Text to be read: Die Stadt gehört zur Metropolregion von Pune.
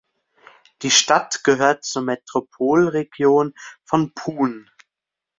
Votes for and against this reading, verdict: 0, 2, rejected